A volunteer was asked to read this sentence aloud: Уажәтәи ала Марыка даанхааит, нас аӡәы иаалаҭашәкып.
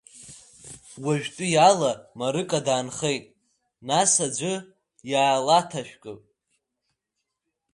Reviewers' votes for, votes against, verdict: 1, 2, rejected